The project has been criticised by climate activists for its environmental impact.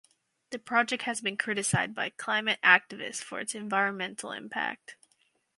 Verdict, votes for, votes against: rejected, 2, 2